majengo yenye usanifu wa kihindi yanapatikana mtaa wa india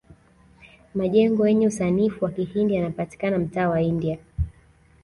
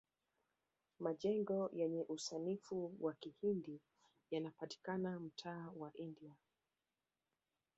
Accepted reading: first